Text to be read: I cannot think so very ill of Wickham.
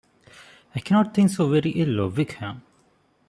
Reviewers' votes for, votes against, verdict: 2, 0, accepted